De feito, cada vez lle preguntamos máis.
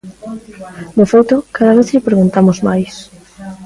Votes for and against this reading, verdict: 2, 0, accepted